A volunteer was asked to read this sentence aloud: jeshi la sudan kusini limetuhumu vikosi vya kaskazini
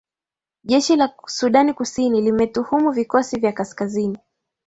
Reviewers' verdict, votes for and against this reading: accepted, 2, 0